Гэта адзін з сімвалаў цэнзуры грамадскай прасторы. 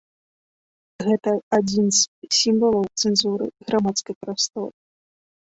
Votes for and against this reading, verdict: 0, 2, rejected